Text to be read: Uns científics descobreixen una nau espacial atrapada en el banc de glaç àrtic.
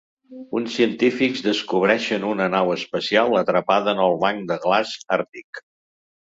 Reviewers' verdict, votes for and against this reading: accepted, 2, 0